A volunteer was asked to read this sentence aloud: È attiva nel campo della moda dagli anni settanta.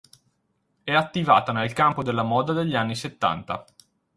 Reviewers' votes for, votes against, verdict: 0, 4, rejected